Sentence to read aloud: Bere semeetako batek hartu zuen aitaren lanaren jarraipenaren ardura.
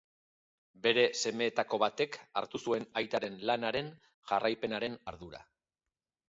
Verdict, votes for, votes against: accepted, 3, 0